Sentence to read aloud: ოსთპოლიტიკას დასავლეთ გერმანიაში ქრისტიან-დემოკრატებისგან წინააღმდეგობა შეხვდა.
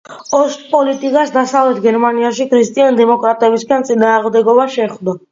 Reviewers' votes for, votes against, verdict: 2, 1, accepted